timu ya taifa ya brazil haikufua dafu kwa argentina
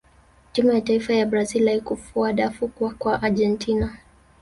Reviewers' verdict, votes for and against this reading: rejected, 0, 2